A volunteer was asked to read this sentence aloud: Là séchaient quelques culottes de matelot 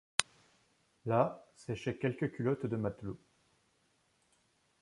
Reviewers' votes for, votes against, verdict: 2, 0, accepted